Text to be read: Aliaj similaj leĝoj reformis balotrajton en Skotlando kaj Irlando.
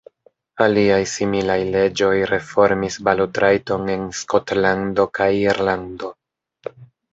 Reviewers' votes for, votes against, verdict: 3, 0, accepted